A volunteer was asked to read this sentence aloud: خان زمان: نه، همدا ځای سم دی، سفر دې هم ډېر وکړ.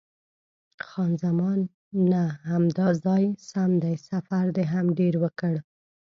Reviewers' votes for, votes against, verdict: 0, 2, rejected